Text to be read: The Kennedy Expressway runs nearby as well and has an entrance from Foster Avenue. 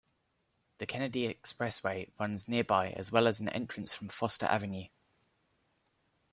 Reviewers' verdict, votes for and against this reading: rejected, 0, 2